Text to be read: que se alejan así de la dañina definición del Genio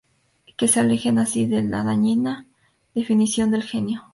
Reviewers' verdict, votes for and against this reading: accepted, 2, 0